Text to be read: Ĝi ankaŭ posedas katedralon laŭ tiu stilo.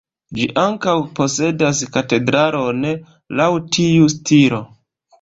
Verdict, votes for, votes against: rejected, 0, 2